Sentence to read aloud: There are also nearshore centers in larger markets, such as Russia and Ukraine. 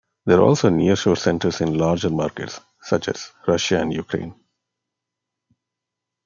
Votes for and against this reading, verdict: 2, 1, accepted